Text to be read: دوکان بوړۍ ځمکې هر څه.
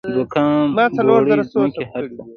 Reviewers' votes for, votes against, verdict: 2, 0, accepted